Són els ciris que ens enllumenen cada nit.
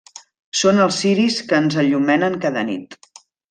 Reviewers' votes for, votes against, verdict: 2, 1, accepted